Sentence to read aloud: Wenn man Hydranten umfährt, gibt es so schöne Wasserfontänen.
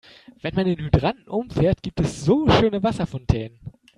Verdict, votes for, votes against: rejected, 0, 2